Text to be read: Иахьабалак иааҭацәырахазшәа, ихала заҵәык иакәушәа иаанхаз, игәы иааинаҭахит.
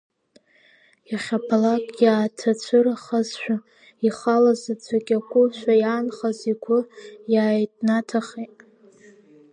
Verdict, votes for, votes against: accepted, 2, 1